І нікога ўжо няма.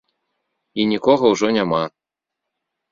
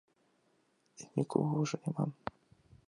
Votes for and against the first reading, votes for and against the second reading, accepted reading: 2, 0, 1, 2, first